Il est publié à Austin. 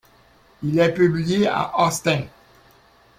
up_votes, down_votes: 2, 0